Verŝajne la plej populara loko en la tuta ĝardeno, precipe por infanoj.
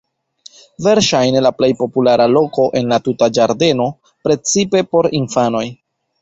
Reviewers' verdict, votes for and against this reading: rejected, 0, 2